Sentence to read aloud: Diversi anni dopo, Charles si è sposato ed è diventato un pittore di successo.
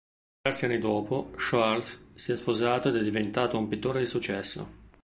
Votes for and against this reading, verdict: 1, 2, rejected